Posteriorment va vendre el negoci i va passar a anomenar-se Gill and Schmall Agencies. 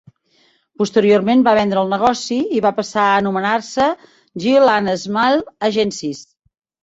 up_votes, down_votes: 2, 0